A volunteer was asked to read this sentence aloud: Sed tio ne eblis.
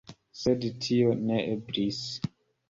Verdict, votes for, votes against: accepted, 2, 0